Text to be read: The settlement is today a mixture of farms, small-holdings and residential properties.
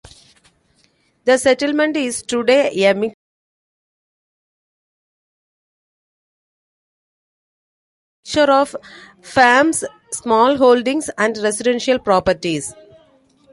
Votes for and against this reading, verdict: 0, 2, rejected